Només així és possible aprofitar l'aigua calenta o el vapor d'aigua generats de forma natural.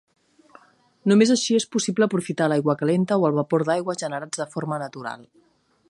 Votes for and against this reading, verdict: 2, 0, accepted